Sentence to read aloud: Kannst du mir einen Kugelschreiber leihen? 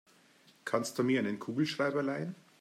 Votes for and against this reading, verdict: 2, 0, accepted